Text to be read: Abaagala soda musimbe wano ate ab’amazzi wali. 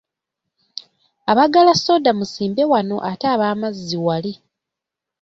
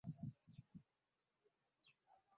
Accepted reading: first